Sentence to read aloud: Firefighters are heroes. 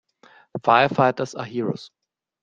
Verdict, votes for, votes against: accepted, 2, 1